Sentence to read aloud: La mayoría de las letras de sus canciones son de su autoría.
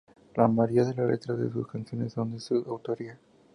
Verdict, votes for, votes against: rejected, 0, 2